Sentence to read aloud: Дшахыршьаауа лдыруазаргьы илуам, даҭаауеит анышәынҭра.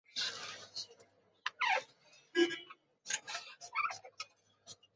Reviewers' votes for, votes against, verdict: 0, 2, rejected